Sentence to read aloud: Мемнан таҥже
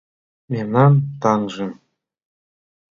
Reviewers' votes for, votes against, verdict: 2, 0, accepted